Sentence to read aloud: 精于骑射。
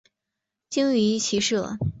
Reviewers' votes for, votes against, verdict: 2, 0, accepted